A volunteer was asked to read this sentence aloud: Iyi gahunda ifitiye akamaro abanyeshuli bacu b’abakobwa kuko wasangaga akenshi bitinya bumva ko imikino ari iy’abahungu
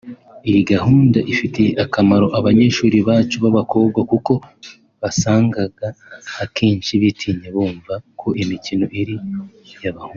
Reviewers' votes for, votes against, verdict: 3, 2, accepted